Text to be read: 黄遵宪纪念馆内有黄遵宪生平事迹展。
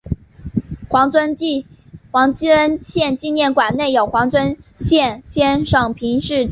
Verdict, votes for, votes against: rejected, 0, 2